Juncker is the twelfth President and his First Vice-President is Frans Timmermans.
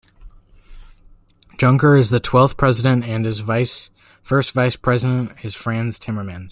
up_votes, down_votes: 0, 2